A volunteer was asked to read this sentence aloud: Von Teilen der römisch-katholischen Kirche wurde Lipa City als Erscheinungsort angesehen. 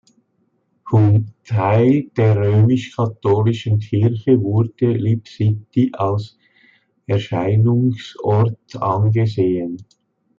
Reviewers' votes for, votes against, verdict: 0, 2, rejected